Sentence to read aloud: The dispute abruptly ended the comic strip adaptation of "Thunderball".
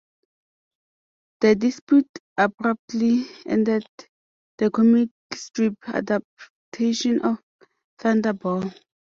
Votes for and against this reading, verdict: 2, 0, accepted